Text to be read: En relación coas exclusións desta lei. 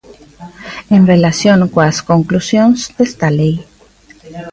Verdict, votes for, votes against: rejected, 0, 2